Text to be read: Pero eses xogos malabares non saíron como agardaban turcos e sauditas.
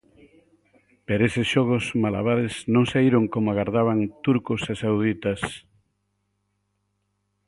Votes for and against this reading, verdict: 4, 0, accepted